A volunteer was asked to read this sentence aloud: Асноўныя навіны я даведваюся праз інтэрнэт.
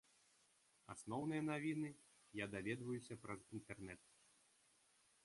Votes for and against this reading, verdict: 3, 0, accepted